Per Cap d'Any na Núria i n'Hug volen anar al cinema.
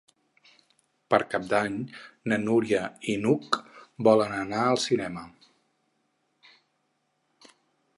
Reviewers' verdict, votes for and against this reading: accepted, 6, 0